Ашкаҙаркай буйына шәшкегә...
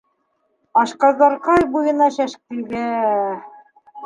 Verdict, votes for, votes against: rejected, 1, 2